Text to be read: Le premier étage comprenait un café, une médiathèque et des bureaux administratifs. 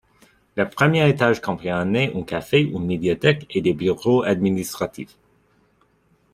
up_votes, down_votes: 0, 2